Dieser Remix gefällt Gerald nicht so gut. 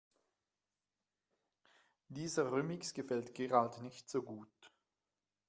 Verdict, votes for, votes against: rejected, 0, 2